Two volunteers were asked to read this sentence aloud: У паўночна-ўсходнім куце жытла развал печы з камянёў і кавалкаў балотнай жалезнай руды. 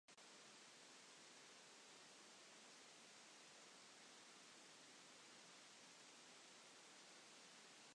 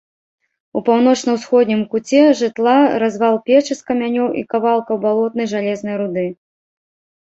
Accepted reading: second